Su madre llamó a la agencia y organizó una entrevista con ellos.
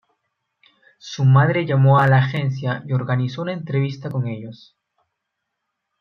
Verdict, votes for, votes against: accepted, 2, 0